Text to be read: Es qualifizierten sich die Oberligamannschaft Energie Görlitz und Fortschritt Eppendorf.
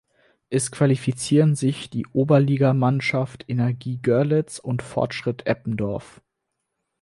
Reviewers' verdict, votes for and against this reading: rejected, 2, 4